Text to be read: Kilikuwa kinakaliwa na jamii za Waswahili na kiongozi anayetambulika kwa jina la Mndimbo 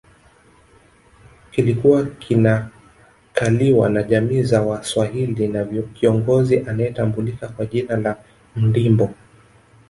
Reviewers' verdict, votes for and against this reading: rejected, 0, 2